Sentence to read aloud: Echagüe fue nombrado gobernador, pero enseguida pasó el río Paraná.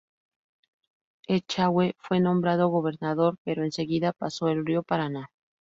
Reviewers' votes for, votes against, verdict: 2, 0, accepted